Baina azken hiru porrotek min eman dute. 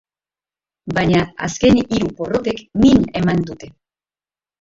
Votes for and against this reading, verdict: 0, 3, rejected